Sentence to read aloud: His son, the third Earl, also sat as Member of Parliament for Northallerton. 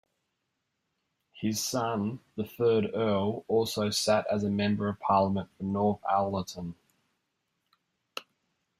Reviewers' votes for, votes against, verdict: 2, 1, accepted